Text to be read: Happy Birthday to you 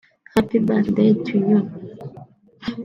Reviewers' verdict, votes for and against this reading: accepted, 2, 1